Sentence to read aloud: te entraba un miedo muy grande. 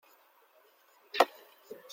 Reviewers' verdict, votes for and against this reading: rejected, 0, 2